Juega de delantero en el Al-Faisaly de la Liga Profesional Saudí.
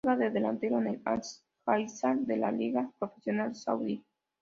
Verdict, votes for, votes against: rejected, 0, 3